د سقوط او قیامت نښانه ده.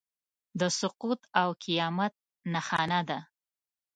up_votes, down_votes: 2, 0